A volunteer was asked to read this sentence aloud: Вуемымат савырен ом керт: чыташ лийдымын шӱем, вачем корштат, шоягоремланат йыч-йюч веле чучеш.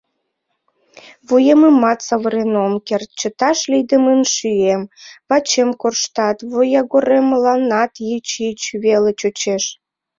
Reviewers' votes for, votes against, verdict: 1, 2, rejected